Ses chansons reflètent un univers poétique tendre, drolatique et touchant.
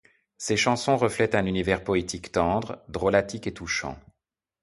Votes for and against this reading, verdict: 2, 0, accepted